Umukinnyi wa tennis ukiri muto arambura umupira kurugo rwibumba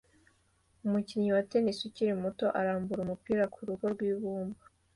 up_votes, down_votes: 2, 0